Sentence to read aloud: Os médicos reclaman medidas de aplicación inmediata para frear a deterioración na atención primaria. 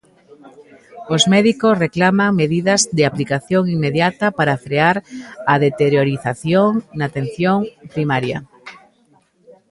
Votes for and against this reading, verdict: 0, 2, rejected